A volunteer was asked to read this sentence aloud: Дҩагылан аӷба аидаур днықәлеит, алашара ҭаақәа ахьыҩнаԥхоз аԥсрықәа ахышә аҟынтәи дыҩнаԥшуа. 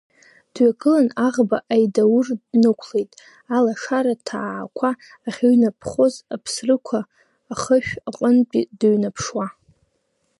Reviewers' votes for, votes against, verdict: 1, 2, rejected